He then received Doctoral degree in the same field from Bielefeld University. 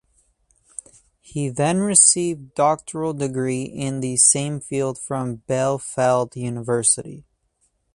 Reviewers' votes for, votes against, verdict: 2, 2, rejected